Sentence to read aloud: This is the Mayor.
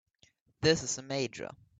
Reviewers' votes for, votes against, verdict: 2, 6, rejected